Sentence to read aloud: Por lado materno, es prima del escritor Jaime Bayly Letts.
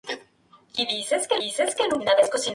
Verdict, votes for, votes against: rejected, 0, 2